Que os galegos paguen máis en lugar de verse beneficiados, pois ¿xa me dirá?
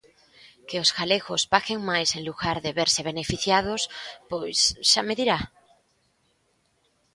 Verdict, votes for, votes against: rejected, 1, 2